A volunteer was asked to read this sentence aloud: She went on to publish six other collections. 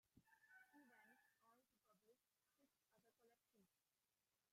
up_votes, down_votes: 0, 2